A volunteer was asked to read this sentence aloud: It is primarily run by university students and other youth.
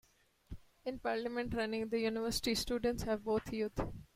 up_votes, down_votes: 1, 2